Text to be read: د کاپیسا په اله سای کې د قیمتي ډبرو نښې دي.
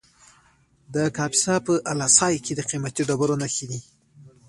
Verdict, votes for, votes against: rejected, 0, 2